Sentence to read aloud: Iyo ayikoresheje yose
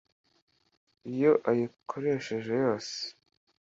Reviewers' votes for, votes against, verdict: 2, 0, accepted